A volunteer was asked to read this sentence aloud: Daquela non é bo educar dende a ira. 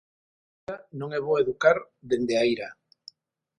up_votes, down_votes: 0, 6